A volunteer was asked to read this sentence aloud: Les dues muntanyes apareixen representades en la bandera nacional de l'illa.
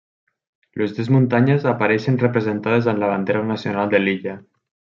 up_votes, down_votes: 2, 0